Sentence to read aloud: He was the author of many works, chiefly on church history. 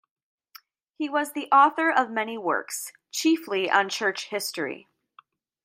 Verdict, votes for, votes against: accepted, 2, 0